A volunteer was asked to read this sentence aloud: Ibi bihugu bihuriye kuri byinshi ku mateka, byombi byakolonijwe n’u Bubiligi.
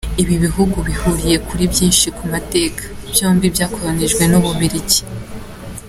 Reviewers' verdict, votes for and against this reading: accepted, 2, 0